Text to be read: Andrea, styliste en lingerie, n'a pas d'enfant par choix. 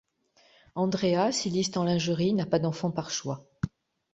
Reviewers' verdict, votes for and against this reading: rejected, 2, 3